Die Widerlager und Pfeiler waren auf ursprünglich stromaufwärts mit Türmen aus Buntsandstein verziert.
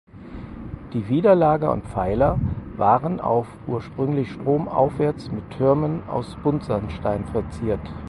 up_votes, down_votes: 4, 0